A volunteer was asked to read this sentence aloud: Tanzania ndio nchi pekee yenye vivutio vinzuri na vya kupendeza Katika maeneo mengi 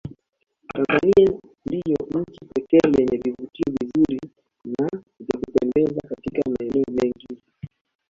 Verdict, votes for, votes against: rejected, 1, 2